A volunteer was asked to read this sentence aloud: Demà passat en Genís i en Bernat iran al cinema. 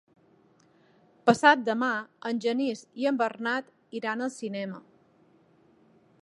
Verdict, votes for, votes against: rejected, 0, 2